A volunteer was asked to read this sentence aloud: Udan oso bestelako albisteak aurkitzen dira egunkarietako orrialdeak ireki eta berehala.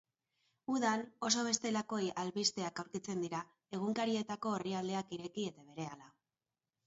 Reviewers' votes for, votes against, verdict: 0, 2, rejected